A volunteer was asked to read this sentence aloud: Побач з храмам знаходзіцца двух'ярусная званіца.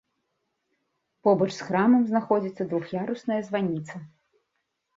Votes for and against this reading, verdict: 2, 0, accepted